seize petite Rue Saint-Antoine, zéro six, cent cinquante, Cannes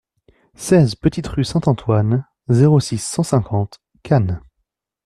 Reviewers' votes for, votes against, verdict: 2, 0, accepted